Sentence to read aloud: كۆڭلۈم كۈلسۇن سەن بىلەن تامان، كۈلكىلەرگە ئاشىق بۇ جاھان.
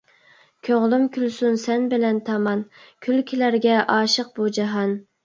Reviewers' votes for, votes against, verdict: 2, 0, accepted